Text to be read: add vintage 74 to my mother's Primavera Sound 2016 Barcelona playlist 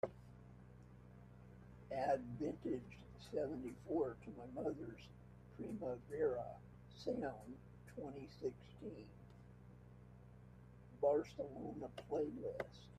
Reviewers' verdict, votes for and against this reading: rejected, 0, 2